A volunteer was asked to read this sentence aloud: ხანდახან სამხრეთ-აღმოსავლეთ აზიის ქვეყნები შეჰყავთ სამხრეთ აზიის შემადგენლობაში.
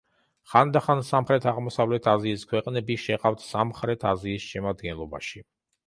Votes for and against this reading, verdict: 2, 0, accepted